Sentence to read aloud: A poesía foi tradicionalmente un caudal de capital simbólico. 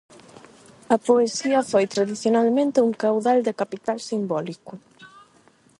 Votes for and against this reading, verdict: 4, 4, rejected